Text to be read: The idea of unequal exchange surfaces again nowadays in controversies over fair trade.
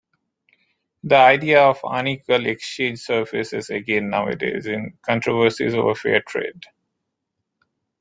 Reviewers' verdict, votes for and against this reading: rejected, 1, 2